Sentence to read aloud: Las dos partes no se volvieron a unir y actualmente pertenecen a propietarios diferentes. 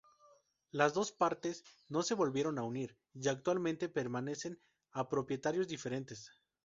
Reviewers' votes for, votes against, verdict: 0, 2, rejected